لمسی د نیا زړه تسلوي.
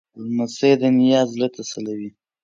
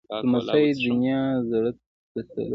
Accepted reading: first